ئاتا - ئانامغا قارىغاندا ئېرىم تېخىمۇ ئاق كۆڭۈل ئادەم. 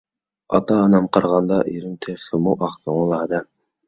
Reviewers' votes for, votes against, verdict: 1, 2, rejected